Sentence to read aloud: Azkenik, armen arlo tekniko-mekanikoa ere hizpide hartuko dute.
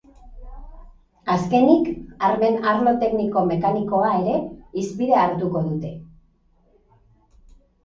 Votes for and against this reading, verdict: 2, 0, accepted